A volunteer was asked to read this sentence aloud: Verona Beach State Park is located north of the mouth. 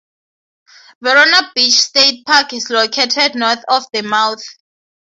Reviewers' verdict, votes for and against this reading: accepted, 6, 0